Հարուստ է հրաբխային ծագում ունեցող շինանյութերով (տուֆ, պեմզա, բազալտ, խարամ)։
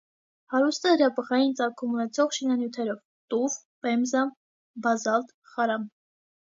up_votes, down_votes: 2, 0